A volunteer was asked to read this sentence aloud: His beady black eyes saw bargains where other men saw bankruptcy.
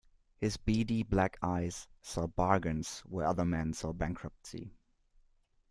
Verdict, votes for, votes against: accepted, 2, 0